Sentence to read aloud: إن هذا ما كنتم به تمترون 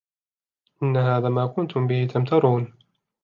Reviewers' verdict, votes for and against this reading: accepted, 2, 0